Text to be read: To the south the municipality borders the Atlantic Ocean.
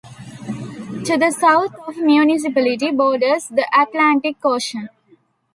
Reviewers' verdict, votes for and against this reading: rejected, 1, 2